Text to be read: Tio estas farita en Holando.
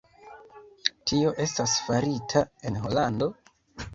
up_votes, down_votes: 2, 0